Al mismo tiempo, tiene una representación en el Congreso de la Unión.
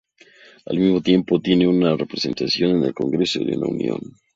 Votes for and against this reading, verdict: 0, 2, rejected